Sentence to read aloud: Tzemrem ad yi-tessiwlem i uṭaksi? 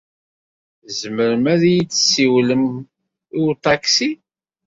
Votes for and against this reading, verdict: 1, 2, rejected